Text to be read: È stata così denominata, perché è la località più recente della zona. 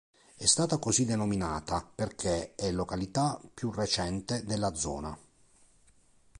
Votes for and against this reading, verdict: 1, 2, rejected